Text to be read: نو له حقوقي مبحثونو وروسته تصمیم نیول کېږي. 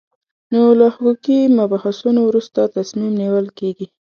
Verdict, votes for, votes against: accepted, 2, 1